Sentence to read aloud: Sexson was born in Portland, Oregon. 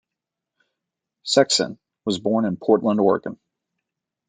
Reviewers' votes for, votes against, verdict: 3, 0, accepted